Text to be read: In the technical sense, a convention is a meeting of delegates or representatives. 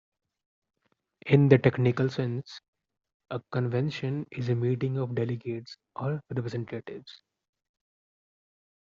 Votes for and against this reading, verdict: 2, 0, accepted